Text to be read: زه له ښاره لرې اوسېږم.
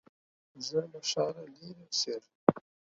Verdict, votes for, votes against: accepted, 4, 0